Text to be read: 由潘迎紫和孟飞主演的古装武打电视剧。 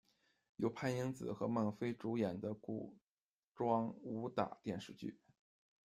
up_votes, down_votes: 1, 2